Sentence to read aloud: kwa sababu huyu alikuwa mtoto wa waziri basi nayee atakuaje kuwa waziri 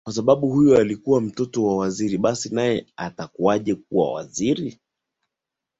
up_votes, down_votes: 2, 0